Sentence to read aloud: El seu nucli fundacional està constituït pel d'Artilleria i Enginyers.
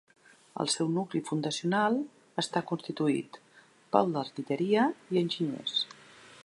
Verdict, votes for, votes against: accepted, 5, 0